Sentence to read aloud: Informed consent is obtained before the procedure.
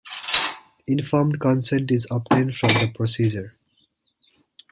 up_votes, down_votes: 0, 2